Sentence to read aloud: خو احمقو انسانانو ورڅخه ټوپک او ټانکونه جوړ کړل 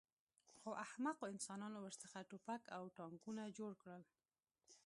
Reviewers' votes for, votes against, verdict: 2, 0, accepted